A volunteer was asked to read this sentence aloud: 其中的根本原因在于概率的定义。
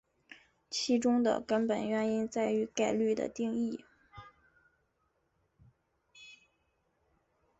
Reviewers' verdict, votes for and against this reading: rejected, 1, 2